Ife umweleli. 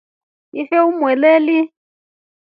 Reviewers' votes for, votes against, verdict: 3, 0, accepted